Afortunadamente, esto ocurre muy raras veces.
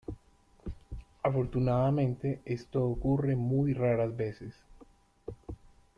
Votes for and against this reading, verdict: 1, 2, rejected